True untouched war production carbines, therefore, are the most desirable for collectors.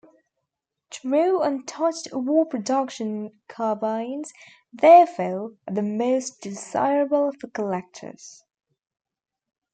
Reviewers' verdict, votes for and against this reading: rejected, 0, 2